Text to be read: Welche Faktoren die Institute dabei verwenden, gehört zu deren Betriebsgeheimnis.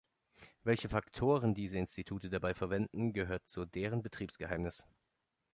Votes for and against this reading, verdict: 0, 3, rejected